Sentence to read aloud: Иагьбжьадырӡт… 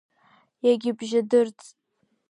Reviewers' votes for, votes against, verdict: 1, 2, rejected